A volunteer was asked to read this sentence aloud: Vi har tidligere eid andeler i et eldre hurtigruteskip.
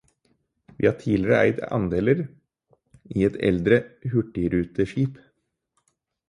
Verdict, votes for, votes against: accepted, 4, 0